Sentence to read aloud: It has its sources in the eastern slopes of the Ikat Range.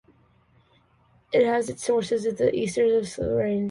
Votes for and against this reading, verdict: 0, 2, rejected